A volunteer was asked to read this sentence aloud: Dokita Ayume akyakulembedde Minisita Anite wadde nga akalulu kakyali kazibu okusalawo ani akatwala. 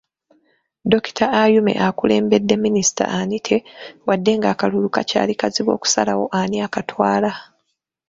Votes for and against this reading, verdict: 1, 2, rejected